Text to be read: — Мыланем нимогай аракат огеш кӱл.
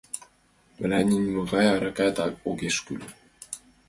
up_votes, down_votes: 1, 2